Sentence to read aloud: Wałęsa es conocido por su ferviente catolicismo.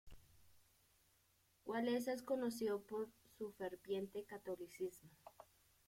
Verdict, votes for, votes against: rejected, 0, 2